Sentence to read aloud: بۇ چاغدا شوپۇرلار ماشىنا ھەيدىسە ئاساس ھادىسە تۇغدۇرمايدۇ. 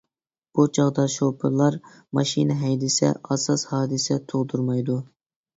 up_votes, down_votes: 2, 0